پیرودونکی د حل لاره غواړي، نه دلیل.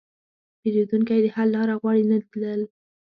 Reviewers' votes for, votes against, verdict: 1, 2, rejected